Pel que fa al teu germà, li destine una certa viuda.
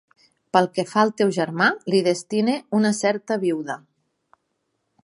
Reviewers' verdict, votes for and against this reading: rejected, 1, 2